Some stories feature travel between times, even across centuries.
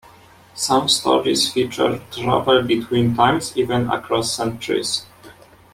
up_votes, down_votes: 2, 0